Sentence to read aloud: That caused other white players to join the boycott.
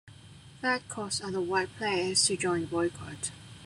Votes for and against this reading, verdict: 2, 1, accepted